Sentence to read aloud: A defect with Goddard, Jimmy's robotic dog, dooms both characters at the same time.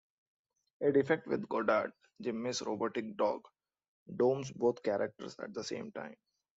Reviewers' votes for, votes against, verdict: 2, 0, accepted